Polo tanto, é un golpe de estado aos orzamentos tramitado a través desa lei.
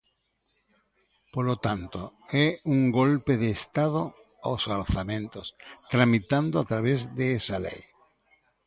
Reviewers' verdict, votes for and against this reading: rejected, 0, 2